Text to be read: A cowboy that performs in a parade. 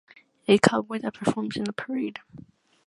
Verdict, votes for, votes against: accepted, 2, 1